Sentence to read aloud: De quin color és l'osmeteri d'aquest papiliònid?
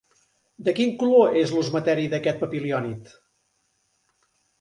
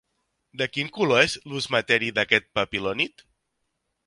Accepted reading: first